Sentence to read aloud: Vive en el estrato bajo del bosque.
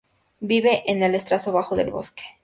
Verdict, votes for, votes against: accepted, 2, 0